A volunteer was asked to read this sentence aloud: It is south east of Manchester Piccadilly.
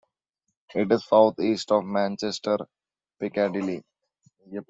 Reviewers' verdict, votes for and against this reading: accepted, 2, 1